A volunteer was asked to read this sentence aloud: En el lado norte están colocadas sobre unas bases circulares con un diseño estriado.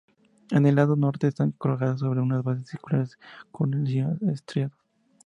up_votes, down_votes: 0, 2